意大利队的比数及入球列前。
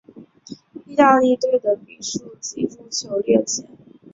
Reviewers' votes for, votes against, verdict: 0, 2, rejected